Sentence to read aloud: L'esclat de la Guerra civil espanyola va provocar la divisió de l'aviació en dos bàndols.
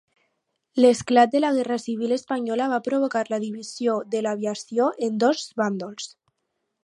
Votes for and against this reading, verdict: 2, 0, accepted